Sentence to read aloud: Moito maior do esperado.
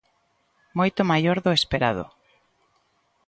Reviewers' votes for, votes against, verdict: 2, 0, accepted